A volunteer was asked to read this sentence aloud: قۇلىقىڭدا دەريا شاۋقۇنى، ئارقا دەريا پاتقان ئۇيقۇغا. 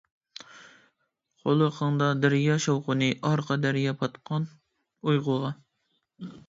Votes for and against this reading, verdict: 2, 0, accepted